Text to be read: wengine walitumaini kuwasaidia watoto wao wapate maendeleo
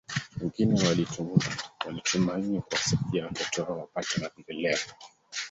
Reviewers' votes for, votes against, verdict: 0, 2, rejected